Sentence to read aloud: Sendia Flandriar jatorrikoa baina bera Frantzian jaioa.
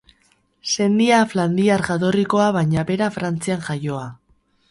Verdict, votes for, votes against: accepted, 4, 0